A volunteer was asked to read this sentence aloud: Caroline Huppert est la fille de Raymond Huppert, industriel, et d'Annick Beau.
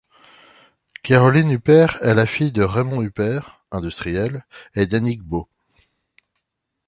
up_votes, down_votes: 2, 0